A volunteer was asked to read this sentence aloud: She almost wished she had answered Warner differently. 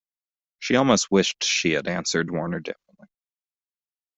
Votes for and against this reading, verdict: 0, 2, rejected